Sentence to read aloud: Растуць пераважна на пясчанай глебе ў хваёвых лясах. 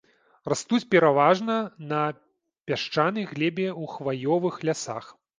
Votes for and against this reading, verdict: 1, 2, rejected